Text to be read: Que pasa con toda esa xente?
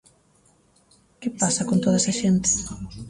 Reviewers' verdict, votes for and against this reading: rejected, 1, 2